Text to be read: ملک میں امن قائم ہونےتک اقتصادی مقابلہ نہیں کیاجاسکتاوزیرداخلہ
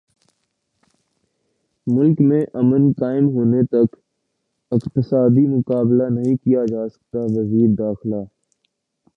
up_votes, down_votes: 0, 2